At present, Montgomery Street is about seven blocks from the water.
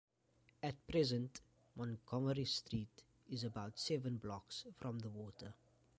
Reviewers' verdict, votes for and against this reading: rejected, 1, 2